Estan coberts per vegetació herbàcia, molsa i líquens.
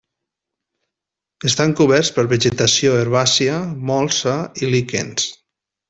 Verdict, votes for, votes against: accepted, 3, 0